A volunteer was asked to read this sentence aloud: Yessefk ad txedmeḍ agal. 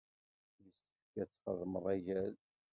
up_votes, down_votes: 1, 2